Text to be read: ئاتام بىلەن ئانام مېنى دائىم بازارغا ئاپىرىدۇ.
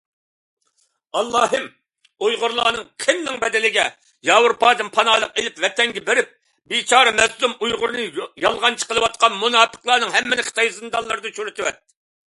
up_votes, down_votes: 0, 2